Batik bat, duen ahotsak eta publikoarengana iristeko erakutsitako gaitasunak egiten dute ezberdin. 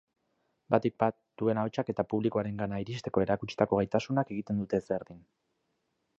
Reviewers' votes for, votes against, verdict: 4, 0, accepted